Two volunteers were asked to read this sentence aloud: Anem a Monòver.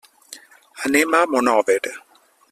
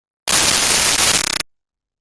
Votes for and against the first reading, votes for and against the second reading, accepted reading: 3, 0, 0, 2, first